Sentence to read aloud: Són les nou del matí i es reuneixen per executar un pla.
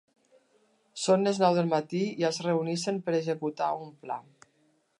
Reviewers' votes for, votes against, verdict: 2, 1, accepted